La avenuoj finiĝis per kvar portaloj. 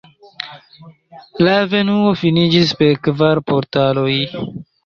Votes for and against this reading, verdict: 1, 2, rejected